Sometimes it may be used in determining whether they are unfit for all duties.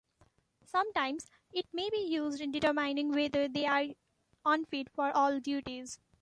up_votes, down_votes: 2, 1